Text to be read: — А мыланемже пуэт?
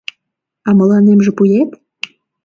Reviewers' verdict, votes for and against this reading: rejected, 1, 2